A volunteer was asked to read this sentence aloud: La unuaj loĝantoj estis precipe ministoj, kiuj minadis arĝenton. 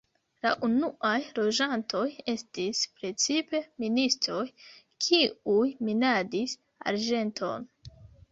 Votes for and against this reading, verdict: 2, 0, accepted